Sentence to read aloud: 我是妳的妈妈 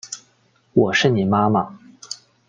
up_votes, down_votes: 0, 2